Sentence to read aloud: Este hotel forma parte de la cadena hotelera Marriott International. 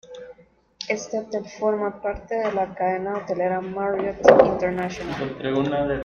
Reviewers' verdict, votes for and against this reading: rejected, 0, 2